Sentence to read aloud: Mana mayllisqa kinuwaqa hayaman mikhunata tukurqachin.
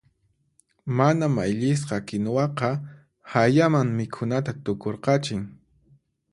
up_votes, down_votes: 4, 0